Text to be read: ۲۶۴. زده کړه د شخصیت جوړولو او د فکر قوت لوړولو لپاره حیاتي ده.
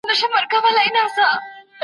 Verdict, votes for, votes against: rejected, 0, 2